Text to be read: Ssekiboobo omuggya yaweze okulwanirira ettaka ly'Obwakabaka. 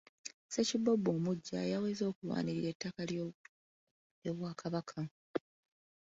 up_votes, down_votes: 0, 2